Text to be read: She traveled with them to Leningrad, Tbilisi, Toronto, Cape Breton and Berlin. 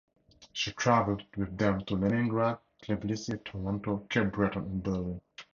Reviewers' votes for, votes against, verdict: 0, 2, rejected